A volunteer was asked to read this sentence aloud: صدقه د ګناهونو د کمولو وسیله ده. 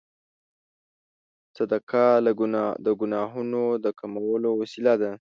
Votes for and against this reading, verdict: 1, 2, rejected